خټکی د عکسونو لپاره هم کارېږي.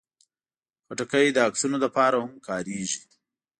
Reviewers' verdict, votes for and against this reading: accepted, 2, 0